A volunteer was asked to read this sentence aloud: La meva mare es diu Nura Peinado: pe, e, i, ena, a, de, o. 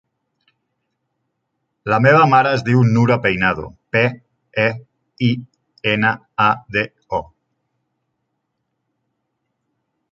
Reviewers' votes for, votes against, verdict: 3, 0, accepted